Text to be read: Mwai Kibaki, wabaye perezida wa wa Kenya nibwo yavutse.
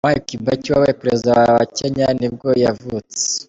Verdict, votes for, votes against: accepted, 3, 1